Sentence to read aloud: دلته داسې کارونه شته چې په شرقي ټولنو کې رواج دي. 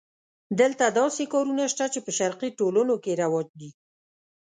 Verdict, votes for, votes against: accepted, 2, 0